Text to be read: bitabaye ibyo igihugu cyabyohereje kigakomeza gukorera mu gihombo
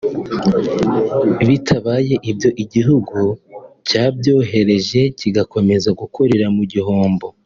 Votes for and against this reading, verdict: 2, 1, accepted